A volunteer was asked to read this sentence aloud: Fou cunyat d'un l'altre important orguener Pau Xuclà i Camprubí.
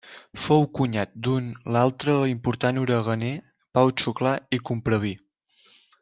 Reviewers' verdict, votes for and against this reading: rejected, 1, 2